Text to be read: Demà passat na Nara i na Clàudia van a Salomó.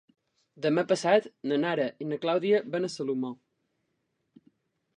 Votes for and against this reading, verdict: 2, 0, accepted